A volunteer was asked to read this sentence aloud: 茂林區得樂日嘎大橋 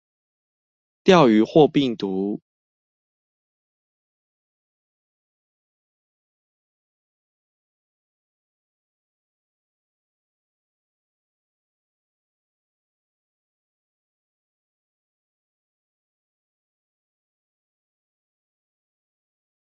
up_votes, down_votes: 0, 4